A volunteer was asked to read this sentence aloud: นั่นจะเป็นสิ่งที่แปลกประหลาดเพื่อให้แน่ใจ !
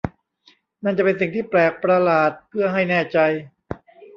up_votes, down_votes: 2, 0